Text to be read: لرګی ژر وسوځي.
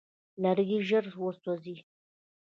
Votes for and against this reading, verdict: 0, 2, rejected